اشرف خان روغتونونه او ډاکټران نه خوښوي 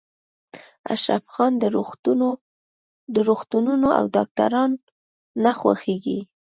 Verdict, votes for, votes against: accepted, 2, 1